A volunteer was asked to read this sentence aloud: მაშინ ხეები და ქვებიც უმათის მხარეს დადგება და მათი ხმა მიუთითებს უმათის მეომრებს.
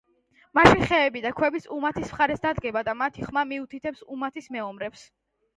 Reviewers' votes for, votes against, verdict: 0, 2, rejected